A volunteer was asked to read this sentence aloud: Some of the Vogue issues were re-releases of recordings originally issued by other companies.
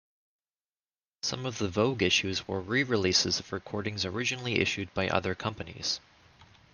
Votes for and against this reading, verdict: 2, 0, accepted